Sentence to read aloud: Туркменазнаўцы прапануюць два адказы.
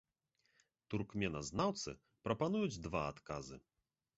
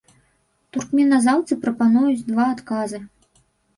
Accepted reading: first